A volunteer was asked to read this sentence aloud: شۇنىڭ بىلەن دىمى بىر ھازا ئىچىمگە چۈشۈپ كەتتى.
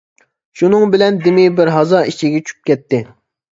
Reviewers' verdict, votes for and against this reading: rejected, 0, 2